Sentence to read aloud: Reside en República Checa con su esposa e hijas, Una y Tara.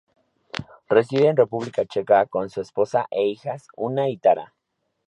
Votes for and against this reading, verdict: 4, 0, accepted